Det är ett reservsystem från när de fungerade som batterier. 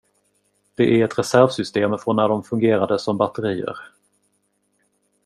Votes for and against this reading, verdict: 2, 1, accepted